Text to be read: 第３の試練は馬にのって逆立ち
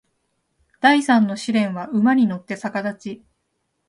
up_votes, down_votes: 0, 2